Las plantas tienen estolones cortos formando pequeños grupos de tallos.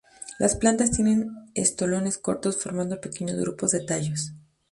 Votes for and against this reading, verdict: 2, 0, accepted